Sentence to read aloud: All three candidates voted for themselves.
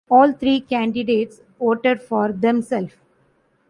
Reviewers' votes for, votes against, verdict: 0, 2, rejected